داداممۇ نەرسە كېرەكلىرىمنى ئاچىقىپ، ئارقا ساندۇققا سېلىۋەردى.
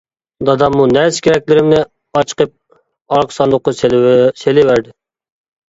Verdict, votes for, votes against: rejected, 0, 2